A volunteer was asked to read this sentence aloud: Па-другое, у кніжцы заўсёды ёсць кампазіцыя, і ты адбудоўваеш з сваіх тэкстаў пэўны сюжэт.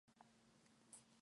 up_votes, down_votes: 0, 2